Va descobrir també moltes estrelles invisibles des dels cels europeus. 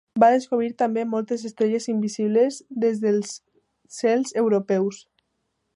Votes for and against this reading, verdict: 2, 0, accepted